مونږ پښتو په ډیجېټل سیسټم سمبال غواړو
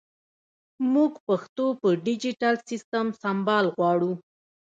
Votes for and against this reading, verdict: 0, 2, rejected